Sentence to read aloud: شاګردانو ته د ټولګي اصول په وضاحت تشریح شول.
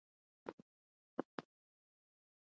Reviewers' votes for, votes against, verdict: 0, 2, rejected